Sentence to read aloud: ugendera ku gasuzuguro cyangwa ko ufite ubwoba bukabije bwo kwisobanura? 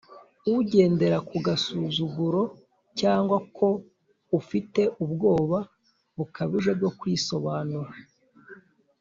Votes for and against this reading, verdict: 2, 0, accepted